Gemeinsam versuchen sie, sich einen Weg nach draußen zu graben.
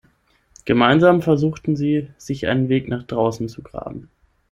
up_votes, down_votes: 0, 6